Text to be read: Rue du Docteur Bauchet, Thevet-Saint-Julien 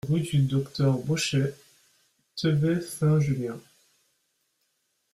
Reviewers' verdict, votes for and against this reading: accepted, 2, 0